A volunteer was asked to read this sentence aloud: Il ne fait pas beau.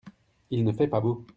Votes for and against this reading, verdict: 2, 0, accepted